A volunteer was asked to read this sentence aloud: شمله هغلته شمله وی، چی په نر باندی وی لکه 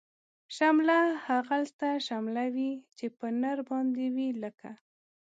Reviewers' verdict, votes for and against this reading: accepted, 2, 0